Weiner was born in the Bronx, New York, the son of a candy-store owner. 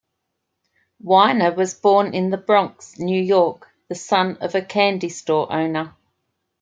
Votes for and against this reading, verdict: 2, 0, accepted